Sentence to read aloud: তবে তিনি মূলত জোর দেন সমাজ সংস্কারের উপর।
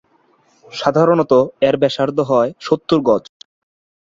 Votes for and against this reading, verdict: 1, 22, rejected